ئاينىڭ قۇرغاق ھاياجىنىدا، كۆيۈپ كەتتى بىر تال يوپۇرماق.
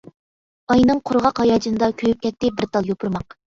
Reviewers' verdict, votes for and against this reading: accepted, 2, 0